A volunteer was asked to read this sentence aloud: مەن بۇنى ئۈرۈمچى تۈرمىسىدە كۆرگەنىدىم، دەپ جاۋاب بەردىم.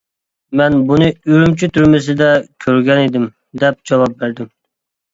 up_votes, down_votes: 2, 0